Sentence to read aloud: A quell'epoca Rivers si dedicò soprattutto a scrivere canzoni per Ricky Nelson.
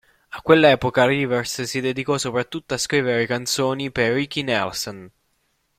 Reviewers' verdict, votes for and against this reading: accepted, 2, 0